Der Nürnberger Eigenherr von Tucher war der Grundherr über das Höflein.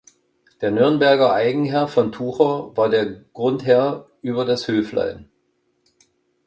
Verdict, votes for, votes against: accepted, 2, 0